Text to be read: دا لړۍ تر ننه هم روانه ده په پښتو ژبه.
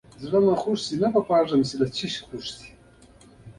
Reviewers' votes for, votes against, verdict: 1, 2, rejected